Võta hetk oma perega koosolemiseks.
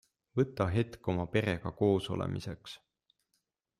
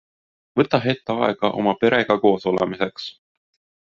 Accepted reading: first